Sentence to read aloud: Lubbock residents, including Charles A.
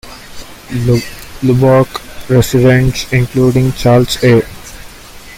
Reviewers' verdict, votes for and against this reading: rejected, 0, 2